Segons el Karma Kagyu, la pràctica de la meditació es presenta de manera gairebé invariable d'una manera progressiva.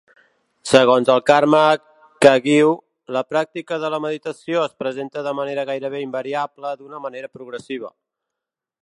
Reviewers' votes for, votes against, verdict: 2, 0, accepted